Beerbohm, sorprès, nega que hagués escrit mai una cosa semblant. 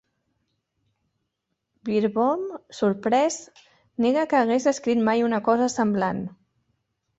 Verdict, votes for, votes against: accepted, 2, 0